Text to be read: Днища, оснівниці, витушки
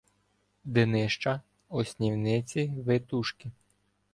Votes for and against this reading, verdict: 0, 2, rejected